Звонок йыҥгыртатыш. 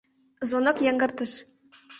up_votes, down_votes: 1, 2